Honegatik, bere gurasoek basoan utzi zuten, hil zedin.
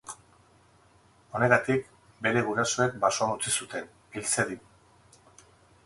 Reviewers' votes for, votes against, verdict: 4, 0, accepted